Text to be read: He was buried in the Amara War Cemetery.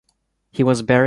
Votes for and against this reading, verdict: 0, 2, rejected